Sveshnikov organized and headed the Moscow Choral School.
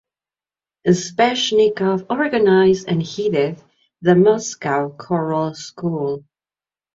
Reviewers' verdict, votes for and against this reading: rejected, 1, 2